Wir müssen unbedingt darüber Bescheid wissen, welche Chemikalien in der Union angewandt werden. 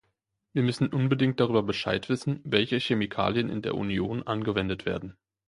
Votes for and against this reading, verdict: 0, 2, rejected